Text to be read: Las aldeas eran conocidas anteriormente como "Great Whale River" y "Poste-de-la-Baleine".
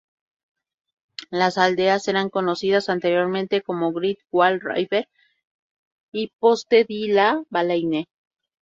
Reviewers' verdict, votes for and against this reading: rejected, 0, 2